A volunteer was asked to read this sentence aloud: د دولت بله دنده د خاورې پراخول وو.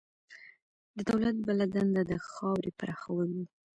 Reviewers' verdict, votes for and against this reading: accepted, 2, 1